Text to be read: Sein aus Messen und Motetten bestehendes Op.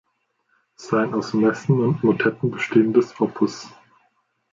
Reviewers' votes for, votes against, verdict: 1, 2, rejected